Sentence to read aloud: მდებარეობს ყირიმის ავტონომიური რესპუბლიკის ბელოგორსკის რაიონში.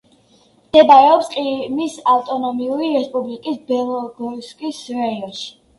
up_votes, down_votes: 1, 2